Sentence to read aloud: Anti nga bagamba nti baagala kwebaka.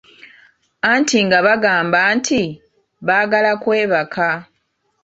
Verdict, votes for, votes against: accepted, 2, 0